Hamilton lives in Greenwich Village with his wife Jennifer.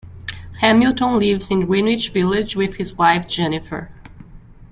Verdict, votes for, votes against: accepted, 2, 0